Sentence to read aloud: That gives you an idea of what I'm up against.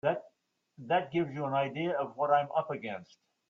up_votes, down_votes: 0, 3